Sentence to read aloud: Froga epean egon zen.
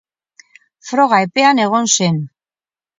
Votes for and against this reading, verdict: 2, 2, rejected